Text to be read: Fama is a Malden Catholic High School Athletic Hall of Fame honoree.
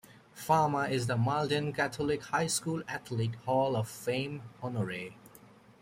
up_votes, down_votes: 2, 1